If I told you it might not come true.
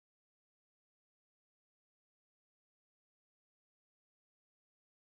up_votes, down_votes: 0, 2